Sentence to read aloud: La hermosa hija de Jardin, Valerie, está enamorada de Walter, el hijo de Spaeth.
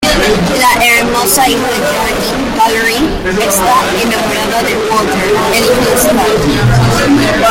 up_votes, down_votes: 0, 2